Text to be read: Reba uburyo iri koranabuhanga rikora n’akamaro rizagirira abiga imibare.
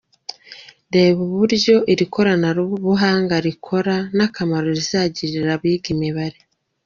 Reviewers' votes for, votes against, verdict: 2, 1, accepted